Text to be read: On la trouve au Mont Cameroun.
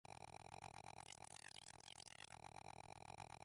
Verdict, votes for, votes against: rejected, 0, 2